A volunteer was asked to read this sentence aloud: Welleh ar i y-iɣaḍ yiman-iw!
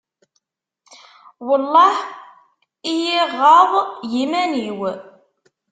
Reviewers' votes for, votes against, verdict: 0, 2, rejected